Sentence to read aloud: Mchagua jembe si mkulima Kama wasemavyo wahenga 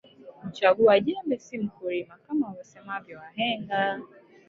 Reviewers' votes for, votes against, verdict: 0, 2, rejected